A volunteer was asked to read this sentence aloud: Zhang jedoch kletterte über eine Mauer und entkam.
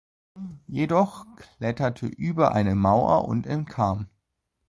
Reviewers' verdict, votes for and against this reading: rejected, 0, 2